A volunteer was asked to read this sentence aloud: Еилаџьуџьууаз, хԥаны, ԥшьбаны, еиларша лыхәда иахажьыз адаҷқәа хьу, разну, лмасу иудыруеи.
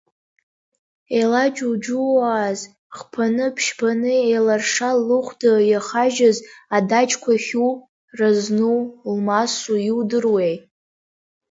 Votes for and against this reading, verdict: 2, 0, accepted